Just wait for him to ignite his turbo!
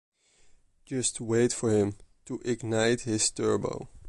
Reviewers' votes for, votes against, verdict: 2, 0, accepted